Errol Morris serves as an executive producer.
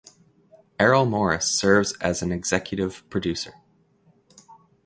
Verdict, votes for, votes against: accepted, 2, 0